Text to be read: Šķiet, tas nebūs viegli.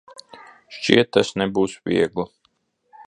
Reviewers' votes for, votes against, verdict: 1, 2, rejected